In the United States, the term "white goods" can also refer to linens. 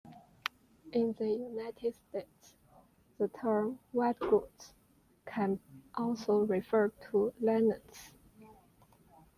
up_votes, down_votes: 2, 0